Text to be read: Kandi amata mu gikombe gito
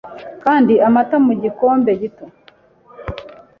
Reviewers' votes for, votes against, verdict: 2, 0, accepted